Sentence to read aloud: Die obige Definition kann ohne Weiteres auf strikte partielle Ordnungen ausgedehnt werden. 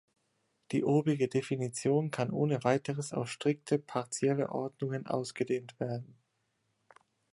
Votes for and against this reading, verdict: 2, 0, accepted